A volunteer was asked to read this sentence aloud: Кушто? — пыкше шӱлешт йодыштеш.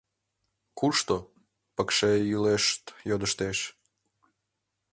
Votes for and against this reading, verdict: 0, 2, rejected